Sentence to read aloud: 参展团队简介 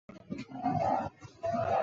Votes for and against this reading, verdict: 0, 4, rejected